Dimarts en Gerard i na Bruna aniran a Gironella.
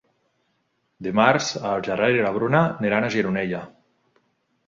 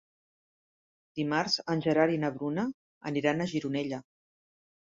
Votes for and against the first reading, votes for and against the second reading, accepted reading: 0, 2, 3, 0, second